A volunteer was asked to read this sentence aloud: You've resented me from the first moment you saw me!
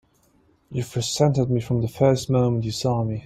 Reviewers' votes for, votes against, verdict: 2, 0, accepted